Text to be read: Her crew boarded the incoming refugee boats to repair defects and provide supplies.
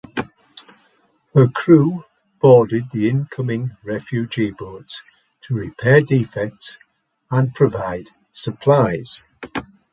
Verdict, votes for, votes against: accepted, 2, 0